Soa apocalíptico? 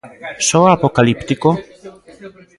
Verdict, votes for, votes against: rejected, 0, 2